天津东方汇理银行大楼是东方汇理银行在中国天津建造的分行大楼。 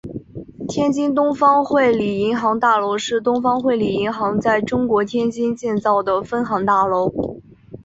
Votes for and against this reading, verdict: 2, 1, accepted